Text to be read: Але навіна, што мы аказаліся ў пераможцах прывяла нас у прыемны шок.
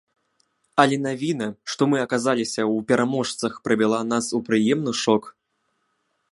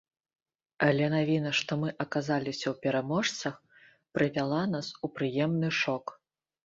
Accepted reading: second